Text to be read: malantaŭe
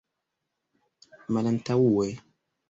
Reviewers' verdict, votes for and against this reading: rejected, 0, 2